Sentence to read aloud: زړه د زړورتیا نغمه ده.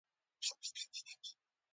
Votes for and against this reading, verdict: 0, 2, rejected